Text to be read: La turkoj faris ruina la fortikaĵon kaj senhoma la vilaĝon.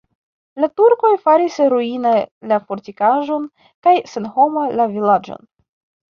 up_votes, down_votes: 1, 2